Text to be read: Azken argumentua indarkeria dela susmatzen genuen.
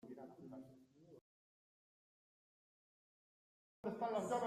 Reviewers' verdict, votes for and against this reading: rejected, 0, 2